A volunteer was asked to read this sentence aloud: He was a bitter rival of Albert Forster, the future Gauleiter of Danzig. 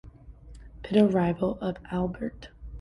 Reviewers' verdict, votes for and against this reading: rejected, 1, 2